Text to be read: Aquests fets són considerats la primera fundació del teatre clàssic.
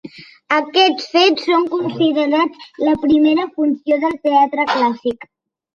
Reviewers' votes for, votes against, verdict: 0, 2, rejected